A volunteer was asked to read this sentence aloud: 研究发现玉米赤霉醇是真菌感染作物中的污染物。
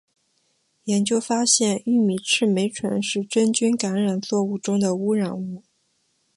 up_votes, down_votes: 4, 2